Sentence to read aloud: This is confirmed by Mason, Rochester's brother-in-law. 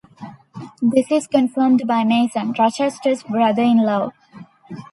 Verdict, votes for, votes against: accepted, 2, 0